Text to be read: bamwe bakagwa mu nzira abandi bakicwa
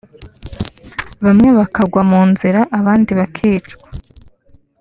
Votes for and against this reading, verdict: 3, 0, accepted